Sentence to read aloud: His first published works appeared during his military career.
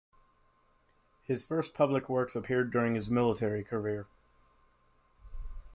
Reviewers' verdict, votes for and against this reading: rejected, 0, 2